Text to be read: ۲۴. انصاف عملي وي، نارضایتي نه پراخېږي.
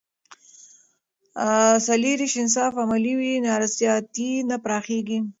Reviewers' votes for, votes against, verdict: 0, 2, rejected